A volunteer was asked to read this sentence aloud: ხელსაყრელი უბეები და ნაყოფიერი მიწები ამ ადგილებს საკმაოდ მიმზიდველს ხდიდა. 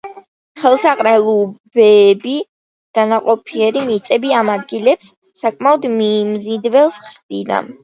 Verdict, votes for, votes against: rejected, 1, 2